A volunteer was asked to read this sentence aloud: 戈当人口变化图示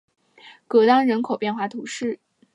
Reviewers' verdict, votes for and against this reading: accepted, 2, 0